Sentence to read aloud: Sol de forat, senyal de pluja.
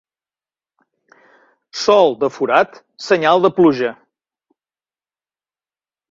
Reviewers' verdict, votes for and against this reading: accepted, 2, 0